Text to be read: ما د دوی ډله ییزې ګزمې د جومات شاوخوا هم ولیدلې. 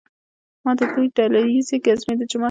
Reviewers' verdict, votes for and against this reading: rejected, 1, 2